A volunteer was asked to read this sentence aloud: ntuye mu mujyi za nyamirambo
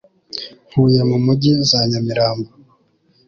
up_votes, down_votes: 2, 0